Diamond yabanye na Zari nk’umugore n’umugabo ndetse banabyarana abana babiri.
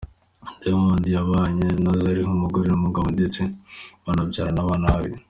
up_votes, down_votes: 2, 0